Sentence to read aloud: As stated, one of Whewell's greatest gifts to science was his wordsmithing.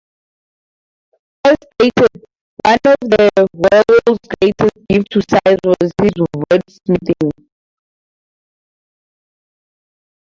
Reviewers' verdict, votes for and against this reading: rejected, 0, 4